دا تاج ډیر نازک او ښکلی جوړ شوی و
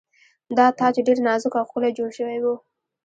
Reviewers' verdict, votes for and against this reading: rejected, 1, 2